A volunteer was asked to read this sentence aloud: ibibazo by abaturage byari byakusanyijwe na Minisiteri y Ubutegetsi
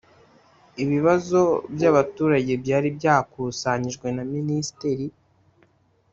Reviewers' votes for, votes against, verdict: 1, 2, rejected